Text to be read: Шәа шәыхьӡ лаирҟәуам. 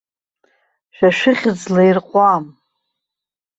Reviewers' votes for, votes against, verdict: 2, 0, accepted